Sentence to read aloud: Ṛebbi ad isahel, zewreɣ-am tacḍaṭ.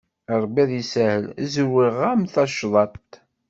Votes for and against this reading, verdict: 2, 0, accepted